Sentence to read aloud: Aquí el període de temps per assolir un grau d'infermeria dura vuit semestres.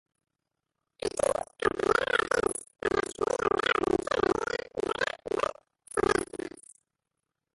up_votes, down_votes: 0, 2